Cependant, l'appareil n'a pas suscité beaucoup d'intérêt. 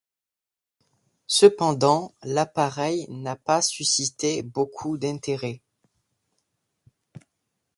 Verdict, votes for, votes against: accepted, 2, 0